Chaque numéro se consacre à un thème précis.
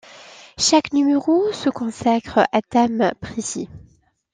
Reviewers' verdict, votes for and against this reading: rejected, 0, 2